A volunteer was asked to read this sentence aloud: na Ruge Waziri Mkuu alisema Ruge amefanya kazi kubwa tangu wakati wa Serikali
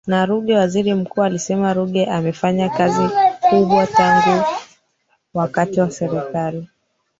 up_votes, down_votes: 1, 2